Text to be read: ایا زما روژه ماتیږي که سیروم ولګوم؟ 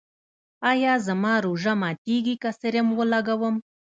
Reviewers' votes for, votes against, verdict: 2, 0, accepted